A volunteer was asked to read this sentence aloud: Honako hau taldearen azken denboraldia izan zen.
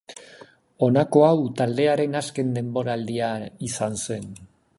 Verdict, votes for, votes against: rejected, 2, 3